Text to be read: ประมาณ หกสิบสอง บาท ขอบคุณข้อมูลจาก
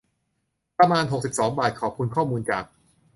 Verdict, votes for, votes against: accepted, 2, 0